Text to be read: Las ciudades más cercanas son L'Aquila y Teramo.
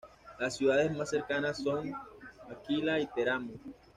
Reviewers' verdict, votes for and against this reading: rejected, 1, 2